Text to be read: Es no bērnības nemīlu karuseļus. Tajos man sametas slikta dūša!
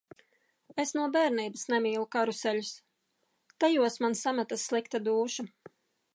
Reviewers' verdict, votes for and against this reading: accepted, 2, 0